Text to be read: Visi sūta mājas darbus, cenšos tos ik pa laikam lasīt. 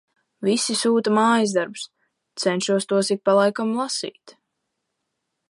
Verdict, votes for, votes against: accepted, 2, 0